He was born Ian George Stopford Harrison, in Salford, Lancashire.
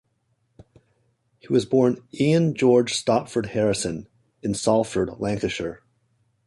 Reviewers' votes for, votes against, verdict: 2, 0, accepted